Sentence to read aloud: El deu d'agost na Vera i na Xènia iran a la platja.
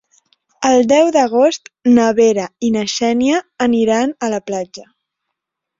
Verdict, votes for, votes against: rejected, 0, 2